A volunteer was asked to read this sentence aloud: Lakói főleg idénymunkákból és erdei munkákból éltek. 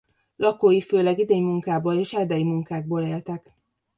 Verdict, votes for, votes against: rejected, 0, 2